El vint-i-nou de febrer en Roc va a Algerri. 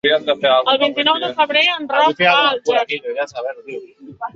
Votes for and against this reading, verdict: 1, 2, rejected